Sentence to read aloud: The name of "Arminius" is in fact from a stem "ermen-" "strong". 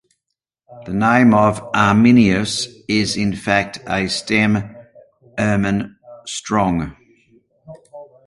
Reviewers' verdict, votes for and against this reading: rejected, 0, 2